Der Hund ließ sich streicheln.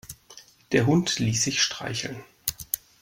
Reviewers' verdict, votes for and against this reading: accepted, 2, 0